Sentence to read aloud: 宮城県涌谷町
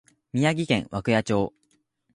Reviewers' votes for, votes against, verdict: 2, 0, accepted